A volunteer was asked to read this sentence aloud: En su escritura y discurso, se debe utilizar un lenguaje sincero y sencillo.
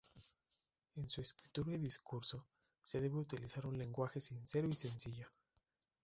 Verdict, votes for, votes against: rejected, 0, 2